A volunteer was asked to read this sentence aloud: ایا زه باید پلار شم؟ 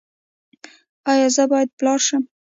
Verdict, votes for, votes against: rejected, 1, 2